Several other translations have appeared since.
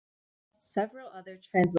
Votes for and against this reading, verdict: 1, 2, rejected